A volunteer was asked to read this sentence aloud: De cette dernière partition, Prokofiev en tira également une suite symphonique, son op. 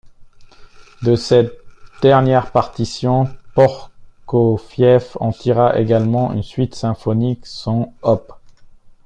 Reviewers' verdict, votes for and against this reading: rejected, 1, 2